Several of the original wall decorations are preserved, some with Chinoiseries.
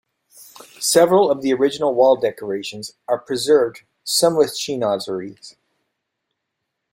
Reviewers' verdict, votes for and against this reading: accepted, 2, 0